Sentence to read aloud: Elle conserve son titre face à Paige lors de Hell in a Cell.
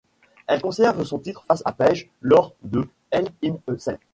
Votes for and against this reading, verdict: 2, 0, accepted